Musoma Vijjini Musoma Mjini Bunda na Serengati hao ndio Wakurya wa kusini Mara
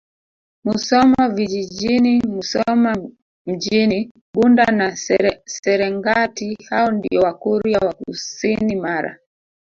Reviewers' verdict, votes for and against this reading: rejected, 0, 3